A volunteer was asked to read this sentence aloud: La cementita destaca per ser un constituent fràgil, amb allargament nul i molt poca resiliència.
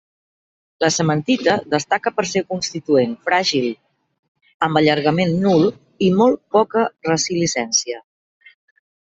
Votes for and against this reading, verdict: 1, 2, rejected